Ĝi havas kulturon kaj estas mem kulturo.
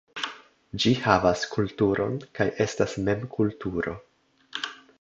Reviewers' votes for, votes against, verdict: 2, 0, accepted